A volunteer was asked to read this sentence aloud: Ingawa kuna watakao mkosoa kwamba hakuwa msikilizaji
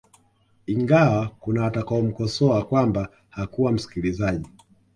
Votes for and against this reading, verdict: 2, 0, accepted